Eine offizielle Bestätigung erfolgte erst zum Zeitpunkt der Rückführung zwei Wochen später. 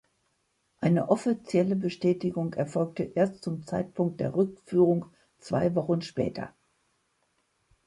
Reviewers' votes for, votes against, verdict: 2, 0, accepted